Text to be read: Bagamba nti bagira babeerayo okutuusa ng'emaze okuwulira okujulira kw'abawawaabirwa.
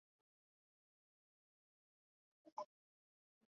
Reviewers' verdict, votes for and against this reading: rejected, 0, 2